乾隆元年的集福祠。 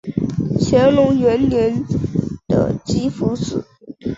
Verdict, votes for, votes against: accepted, 3, 0